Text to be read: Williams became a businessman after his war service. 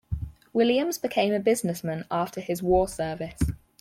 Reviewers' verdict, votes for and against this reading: accepted, 4, 0